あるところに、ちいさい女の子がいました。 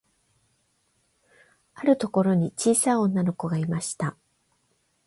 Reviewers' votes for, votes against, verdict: 8, 0, accepted